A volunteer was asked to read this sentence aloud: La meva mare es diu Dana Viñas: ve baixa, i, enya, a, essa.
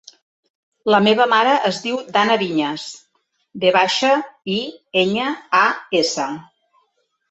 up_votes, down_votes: 2, 0